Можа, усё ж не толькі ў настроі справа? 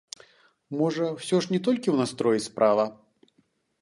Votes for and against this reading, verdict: 2, 0, accepted